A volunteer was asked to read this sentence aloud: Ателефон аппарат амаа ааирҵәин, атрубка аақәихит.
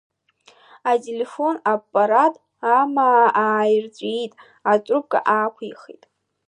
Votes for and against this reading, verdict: 0, 2, rejected